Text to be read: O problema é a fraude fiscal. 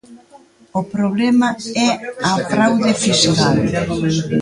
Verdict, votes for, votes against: rejected, 1, 2